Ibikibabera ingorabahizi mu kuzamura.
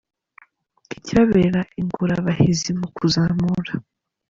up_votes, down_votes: 1, 2